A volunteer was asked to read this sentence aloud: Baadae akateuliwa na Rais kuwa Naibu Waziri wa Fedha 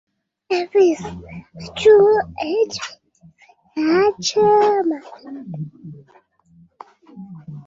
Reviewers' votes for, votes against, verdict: 0, 2, rejected